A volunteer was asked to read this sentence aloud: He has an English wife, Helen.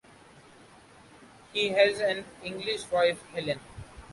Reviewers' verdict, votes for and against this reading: accepted, 2, 0